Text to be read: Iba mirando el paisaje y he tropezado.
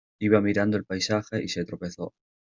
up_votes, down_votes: 0, 2